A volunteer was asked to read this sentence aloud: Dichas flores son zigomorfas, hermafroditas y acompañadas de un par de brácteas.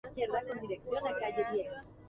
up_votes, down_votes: 0, 4